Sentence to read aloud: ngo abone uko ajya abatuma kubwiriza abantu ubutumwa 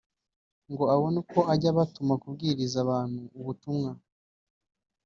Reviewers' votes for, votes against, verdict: 2, 0, accepted